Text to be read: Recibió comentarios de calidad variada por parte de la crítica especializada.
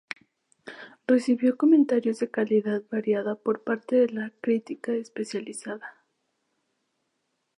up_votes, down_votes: 2, 0